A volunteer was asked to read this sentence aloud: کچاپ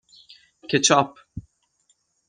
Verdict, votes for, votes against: rejected, 3, 6